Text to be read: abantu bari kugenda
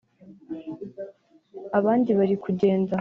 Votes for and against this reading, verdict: 1, 3, rejected